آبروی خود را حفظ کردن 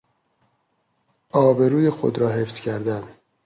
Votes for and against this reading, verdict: 2, 0, accepted